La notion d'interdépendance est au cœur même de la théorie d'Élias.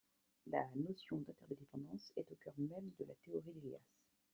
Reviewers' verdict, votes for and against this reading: rejected, 1, 2